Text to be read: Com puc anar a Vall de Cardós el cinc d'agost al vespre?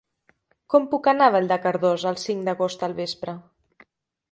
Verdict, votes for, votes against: accepted, 2, 0